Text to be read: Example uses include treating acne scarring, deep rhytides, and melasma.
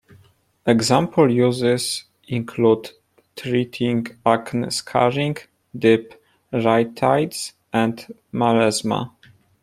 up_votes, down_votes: 2, 0